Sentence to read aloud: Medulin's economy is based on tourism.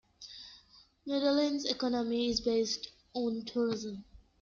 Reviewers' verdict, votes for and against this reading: accepted, 2, 0